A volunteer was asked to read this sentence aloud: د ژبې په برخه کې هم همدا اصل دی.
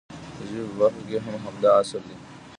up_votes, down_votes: 1, 2